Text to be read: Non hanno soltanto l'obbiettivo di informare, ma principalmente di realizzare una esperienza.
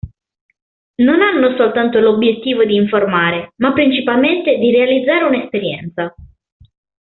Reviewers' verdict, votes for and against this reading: accepted, 2, 0